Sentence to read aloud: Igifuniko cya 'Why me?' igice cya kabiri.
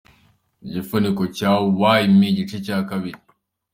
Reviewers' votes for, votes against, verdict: 2, 0, accepted